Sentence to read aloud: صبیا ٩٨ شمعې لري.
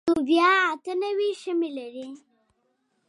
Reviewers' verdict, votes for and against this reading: rejected, 0, 2